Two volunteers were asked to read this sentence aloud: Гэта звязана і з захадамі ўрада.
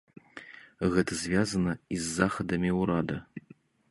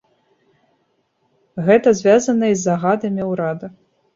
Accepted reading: first